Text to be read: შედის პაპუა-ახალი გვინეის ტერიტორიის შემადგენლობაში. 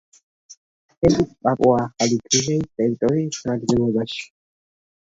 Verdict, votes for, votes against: rejected, 1, 2